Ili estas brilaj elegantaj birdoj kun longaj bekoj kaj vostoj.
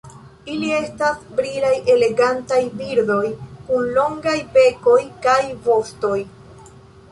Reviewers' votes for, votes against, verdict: 2, 1, accepted